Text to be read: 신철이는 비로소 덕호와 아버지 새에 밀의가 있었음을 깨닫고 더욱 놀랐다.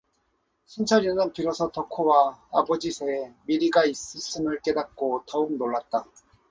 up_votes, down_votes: 0, 2